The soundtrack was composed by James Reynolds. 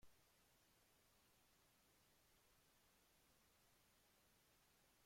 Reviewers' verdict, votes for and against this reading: rejected, 0, 2